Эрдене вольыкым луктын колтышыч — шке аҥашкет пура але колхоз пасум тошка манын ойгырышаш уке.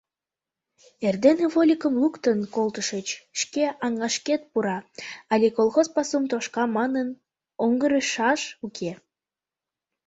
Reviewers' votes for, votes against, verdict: 1, 2, rejected